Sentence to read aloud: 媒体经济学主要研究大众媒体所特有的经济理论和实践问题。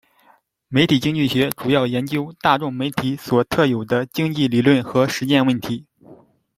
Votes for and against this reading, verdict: 2, 0, accepted